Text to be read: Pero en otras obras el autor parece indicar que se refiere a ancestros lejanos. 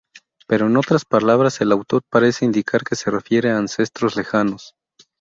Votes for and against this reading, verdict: 0, 2, rejected